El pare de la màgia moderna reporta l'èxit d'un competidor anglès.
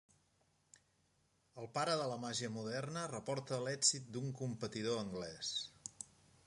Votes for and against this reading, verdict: 2, 0, accepted